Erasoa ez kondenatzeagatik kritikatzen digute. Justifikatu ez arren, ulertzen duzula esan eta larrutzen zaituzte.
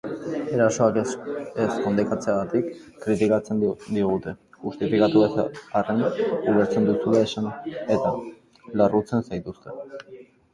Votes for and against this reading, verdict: 0, 2, rejected